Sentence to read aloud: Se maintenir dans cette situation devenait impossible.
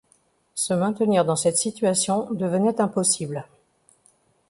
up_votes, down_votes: 2, 0